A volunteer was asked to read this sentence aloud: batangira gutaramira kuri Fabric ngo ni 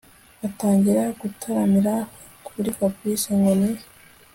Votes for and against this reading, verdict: 2, 0, accepted